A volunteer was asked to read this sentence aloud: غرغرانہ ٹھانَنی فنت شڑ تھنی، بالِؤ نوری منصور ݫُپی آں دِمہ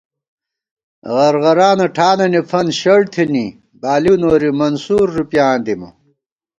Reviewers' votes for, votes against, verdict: 2, 0, accepted